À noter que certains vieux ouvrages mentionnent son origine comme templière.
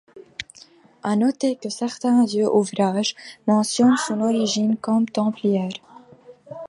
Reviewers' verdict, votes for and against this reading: rejected, 0, 2